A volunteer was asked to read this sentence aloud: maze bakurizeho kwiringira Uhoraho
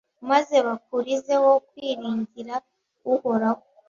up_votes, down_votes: 2, 0